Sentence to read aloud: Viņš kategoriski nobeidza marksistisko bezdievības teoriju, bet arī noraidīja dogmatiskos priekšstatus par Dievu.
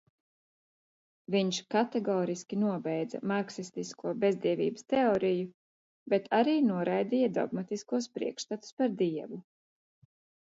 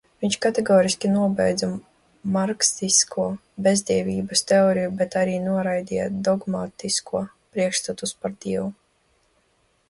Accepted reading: first